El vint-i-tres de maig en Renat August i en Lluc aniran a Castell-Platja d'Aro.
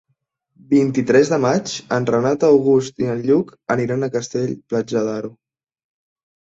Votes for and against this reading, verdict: 0, 2, rejected